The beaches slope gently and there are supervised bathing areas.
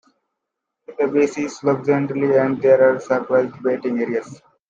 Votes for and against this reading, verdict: 1, 2, rejected